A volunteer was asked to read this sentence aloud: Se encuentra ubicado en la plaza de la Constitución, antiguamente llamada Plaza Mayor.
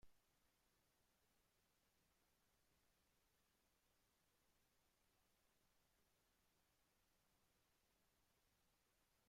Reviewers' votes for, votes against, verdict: 0, 2, rejected